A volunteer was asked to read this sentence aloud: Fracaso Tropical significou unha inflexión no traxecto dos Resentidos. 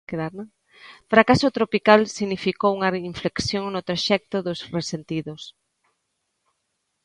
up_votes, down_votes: 0, 2